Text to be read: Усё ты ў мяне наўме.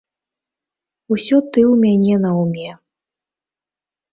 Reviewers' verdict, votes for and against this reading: accepted, 3, 0